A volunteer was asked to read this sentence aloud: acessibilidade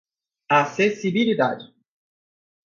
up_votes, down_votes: 4, 0